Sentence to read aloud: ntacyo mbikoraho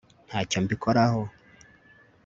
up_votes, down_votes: 2, 0